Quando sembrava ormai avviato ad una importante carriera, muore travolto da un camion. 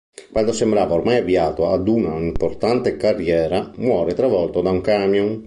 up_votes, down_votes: 2, 0